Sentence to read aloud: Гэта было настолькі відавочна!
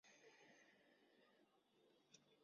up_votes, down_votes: 0, 2